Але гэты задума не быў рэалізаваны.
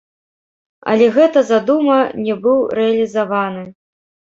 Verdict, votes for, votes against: rejected, 0, 2